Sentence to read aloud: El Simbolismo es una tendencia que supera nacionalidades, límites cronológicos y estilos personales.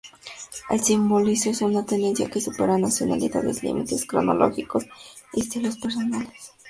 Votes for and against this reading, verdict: 2, 2, rejected